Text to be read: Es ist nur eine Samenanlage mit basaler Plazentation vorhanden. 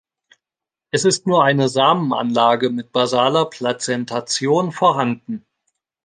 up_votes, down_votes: 3, 0